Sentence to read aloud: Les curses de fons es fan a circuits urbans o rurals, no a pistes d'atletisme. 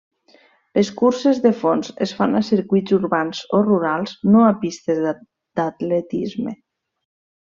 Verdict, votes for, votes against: rejected, 0, 2